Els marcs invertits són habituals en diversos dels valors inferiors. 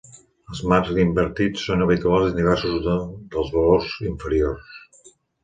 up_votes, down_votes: 0, 2